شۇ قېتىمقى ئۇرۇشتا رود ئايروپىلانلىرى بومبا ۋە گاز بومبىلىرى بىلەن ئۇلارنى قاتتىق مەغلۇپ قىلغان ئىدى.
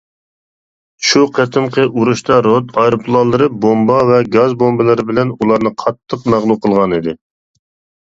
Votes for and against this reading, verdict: 2, 0, accepted